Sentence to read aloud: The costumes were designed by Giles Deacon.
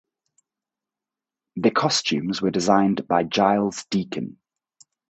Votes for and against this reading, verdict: 2, 0, accepted